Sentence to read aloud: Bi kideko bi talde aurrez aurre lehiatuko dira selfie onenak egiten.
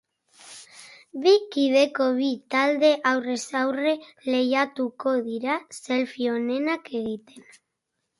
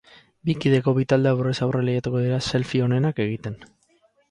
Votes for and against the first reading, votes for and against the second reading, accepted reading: 4, 0, 0, 2, first